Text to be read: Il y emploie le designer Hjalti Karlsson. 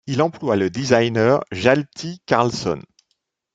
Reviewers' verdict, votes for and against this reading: rejected, 0, 2